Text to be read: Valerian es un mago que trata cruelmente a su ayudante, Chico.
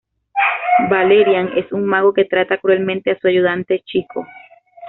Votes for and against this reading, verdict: 1, 2, rejected